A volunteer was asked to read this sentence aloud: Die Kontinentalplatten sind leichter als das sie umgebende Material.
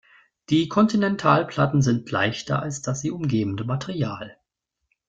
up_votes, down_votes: 2, 0